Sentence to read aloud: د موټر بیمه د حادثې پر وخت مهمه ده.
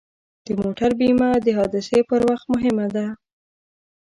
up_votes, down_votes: 1, 2